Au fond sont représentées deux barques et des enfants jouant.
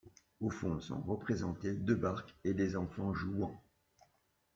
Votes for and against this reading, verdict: 2, 0, accepted